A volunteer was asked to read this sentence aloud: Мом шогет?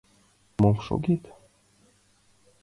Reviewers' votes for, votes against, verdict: 2, 0, accepted